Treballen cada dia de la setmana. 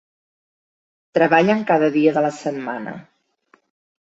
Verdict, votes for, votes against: accepted, 3, 0